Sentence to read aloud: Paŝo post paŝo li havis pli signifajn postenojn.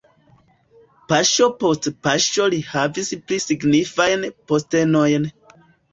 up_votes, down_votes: 2, 1